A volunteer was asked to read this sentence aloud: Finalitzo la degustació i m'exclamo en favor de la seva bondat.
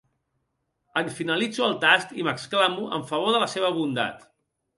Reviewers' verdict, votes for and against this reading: rejected, 1, 2